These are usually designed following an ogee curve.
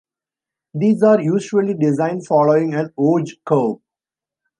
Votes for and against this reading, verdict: 1, 2, rejected